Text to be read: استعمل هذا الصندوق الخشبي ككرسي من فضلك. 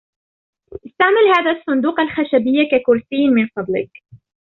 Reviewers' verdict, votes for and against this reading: rejected, 1, 2